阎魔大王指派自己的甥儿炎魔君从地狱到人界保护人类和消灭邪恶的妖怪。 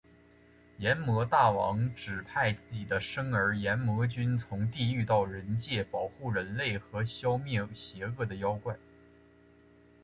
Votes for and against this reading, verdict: 2, 0, accepted